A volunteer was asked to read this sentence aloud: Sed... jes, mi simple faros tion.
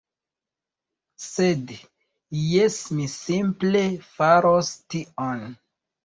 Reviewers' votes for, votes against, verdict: 2, 0, accepted